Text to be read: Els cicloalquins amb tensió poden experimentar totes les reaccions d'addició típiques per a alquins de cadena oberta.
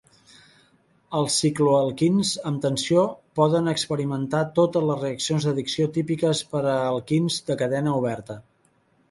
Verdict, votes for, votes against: accepted, 2, 0